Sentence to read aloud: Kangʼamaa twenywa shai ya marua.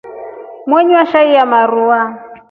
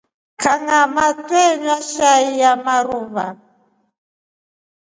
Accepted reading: second